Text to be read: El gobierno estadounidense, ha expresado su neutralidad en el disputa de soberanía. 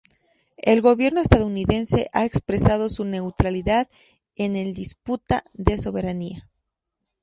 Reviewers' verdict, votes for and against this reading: accepted, 2, 0